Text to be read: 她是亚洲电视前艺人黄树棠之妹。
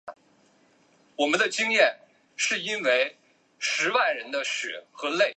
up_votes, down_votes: 2, 2